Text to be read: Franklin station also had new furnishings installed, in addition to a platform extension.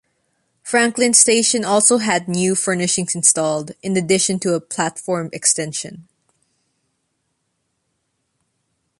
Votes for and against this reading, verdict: 2, 0, accepted